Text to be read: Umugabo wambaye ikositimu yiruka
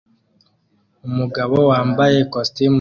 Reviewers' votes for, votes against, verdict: 1, 2, rejected